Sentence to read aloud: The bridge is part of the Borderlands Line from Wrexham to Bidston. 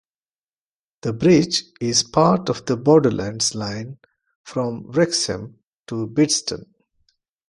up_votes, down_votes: 2, 0